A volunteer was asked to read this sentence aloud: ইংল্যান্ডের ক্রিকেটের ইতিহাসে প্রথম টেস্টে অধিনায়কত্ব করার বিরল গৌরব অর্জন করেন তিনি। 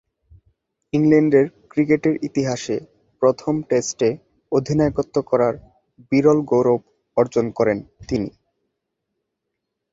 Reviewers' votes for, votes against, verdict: 2, 0, accepted